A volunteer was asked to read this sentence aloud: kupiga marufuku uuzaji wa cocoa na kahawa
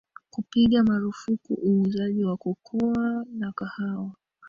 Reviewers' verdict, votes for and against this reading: rejected, 1, 2